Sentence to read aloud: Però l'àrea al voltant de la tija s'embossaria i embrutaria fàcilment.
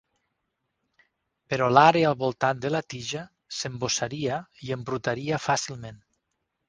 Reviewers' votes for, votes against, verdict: 4, 0, accepted